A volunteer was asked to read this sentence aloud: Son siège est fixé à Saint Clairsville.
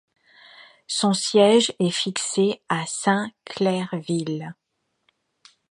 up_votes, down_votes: 2, 0